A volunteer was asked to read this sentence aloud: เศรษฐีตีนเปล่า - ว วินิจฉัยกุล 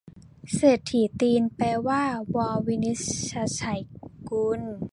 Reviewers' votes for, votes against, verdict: 0, 2, rejected